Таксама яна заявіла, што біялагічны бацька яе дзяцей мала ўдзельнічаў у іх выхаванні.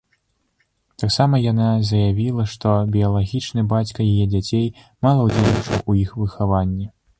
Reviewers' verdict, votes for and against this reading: rejected, 0, 2